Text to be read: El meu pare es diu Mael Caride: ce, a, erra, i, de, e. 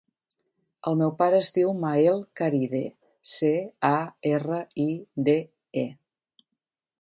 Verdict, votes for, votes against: accepted, 5, 0